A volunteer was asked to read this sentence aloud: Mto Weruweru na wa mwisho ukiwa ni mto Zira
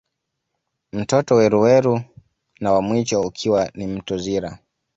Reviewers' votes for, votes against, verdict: 1, 2, rejected